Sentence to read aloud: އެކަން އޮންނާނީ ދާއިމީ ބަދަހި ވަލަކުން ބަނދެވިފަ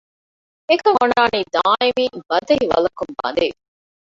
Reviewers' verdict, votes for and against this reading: rejected, 0, 2